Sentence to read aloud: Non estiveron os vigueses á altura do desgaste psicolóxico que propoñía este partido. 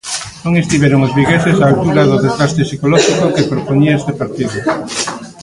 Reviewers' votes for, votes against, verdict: 1, 2, rejected